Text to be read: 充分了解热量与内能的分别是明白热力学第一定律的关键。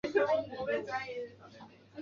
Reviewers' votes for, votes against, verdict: 0, 2, rejected